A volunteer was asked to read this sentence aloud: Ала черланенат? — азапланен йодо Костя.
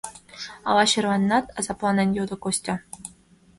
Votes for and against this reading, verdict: 2, 0, accepted